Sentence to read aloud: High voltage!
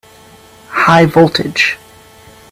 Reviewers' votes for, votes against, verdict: 3, 0, accepted